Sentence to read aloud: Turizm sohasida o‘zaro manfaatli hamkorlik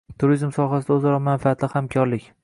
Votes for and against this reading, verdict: 2, 0, accepted